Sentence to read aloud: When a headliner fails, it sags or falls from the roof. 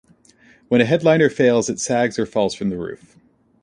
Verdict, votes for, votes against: accepted, 2, 0